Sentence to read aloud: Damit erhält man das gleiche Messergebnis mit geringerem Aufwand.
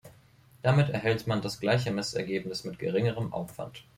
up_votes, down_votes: 2, 0